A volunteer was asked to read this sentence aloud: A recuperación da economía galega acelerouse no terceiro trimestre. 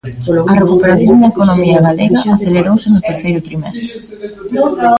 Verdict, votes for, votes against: rejected, 1, 2